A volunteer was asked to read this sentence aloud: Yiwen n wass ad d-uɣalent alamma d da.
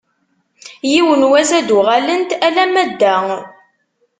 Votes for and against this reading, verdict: 2, 0, accepted